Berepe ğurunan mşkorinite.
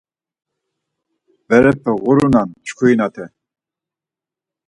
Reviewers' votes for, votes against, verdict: 2, 4, rejected